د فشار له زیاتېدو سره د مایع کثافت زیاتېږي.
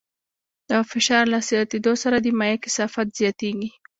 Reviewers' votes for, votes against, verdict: 2, 0, accepted